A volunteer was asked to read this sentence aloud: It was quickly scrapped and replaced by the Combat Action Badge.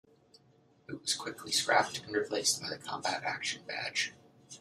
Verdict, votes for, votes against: rejected, 1, 2